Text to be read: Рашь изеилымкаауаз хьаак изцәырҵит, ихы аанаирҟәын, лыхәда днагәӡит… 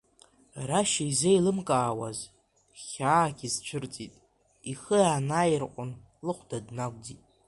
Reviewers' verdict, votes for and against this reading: rejected, 1, 2